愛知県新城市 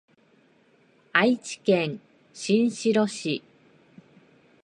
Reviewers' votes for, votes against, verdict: 1, 2, rejected